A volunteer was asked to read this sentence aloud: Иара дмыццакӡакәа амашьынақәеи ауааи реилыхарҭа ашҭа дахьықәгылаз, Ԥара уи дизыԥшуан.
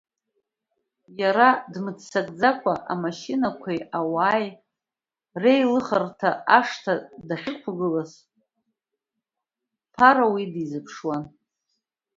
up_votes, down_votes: 2, 1